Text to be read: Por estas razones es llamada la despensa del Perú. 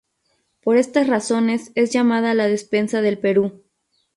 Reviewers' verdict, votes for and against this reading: rejected, 0, 2